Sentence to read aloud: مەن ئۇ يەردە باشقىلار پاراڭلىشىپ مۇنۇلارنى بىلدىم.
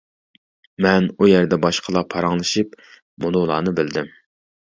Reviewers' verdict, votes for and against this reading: accepted, 2, 0